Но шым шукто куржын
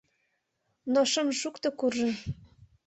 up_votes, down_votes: 2, 0